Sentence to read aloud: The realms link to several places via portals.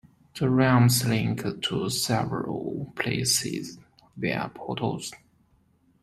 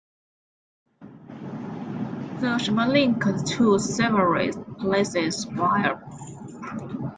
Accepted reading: first